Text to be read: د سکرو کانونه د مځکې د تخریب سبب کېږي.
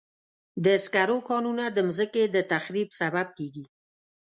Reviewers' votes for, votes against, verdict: 2, 0, accepted